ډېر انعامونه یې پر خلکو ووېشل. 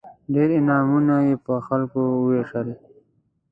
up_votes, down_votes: 2, 0